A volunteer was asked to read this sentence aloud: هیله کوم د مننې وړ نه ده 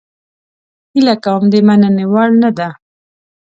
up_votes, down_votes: 2, 0